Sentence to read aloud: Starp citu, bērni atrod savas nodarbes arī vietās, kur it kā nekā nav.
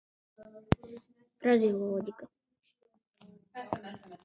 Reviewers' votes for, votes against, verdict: 1, 2, rejected